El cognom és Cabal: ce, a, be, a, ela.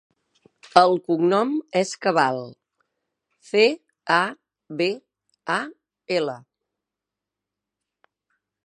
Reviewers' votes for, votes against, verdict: 0, 2, rejected